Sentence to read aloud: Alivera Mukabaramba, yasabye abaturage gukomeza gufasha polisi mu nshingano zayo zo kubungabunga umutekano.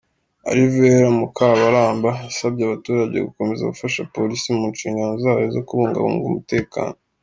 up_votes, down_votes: 2, 0